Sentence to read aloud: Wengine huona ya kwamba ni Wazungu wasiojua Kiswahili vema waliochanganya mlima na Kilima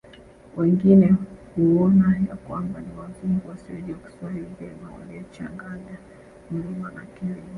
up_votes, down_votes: 2, 1